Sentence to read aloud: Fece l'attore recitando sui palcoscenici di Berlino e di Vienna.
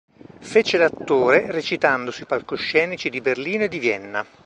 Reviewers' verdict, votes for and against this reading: accepted, 2, 0